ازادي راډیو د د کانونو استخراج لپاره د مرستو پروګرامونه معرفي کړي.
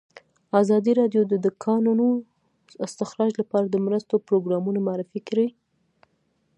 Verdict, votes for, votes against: accepted, 2, 1